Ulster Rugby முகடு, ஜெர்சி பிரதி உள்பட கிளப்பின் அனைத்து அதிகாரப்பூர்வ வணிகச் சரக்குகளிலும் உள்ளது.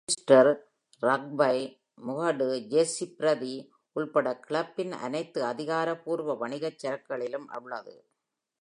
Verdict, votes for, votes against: accepted, 2, 0